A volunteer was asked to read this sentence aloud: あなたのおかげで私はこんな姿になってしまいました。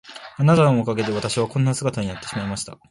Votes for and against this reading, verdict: 8, 1, accepted